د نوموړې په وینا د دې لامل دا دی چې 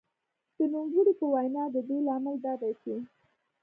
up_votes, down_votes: 2, 0